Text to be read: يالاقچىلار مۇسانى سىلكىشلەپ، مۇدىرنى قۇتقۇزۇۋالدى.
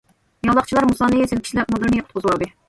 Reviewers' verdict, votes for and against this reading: rejected, 1, 2